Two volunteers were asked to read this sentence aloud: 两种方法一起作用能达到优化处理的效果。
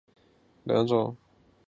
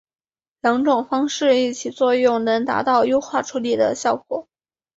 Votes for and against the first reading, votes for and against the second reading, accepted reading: 0, 3, 2, 1, second